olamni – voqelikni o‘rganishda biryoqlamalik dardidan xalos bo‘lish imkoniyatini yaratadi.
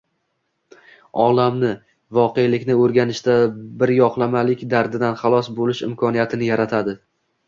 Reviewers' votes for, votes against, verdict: 0, 2, rejected